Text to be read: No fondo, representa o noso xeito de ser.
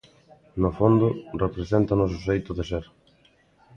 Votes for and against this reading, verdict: 2, 0, accepted